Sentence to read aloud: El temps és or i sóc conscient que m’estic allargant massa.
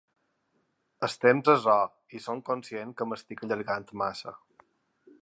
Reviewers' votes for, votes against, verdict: 2, 5, rejected